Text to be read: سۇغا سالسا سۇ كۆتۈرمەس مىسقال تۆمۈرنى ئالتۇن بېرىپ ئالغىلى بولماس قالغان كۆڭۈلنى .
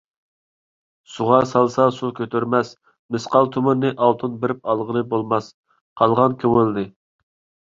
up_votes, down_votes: 1, 2